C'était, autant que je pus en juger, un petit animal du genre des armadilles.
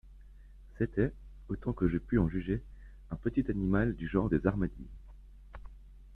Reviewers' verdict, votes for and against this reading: rejected, 0, 2